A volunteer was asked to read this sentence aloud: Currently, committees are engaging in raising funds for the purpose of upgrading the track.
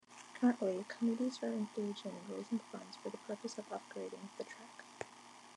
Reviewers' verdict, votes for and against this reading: accepted, 2, 1